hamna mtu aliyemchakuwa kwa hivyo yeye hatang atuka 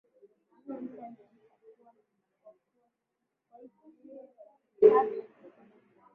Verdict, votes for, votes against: rejected, 0, 2